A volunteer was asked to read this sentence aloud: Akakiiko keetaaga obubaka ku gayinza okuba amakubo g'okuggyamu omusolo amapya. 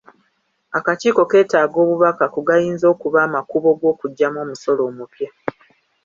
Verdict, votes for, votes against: rejected, 0, 2